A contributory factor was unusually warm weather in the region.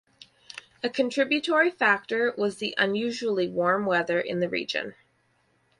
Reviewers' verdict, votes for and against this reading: rejected, 2, 2